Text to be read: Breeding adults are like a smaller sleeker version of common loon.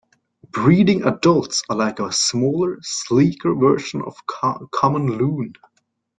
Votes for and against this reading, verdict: 1, 2, rejected